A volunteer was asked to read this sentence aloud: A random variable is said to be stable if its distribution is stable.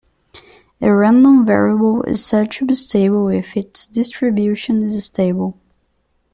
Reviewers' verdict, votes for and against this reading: accepted, 3, 0